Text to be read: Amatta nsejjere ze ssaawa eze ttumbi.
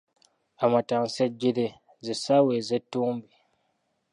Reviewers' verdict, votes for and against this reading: accepted, 2, 0